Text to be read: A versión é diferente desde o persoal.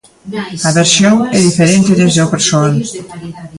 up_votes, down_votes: 0, 3